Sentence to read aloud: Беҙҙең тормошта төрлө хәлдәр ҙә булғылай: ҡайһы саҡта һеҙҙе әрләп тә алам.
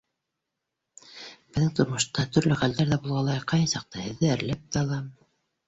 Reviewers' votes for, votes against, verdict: 2, 0, accepted